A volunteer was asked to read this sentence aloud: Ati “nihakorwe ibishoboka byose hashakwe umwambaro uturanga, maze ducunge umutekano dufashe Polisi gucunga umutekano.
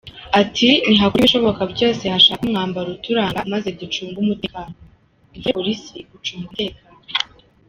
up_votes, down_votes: 1, 2